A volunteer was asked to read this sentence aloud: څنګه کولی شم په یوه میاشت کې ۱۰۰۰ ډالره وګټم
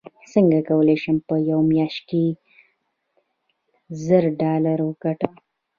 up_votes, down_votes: 0, 2